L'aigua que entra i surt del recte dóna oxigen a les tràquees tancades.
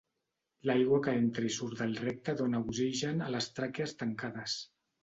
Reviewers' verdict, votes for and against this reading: accepted, 2, 0